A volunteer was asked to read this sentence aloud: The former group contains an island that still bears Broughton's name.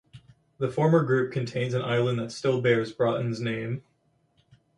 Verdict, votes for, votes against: accepted, 4, 0